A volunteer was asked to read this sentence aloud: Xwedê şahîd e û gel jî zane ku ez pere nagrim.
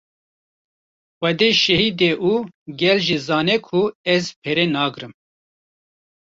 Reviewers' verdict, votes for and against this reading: rejected, 1, 2